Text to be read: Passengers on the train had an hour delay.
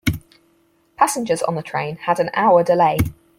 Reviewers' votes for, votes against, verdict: 4, 0, accepted